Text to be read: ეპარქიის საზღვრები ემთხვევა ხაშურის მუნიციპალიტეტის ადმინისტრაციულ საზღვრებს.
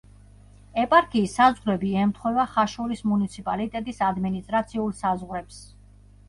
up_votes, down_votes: 2, 0